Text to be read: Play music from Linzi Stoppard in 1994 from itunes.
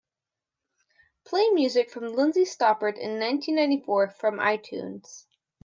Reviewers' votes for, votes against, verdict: 0, 2, rejected